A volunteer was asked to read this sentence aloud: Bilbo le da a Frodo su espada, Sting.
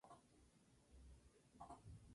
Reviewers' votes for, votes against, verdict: 0, 4, rejected